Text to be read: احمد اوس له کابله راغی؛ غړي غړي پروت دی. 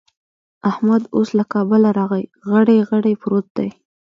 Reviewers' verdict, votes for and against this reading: accepted, 3, 0